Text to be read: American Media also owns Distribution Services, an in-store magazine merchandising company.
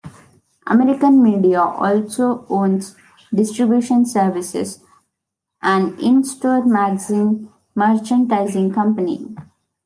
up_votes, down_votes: 2, 0